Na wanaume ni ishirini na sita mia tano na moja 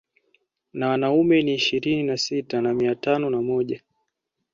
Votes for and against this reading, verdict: 1, 2, rejected